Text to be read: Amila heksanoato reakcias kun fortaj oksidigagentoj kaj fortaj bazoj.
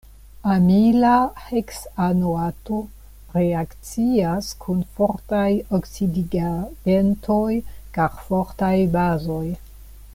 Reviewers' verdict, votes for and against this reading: rejected, 1, 2